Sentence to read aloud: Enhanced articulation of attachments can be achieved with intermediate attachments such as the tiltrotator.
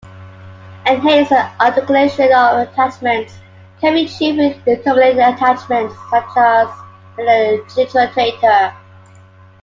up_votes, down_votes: 2, 1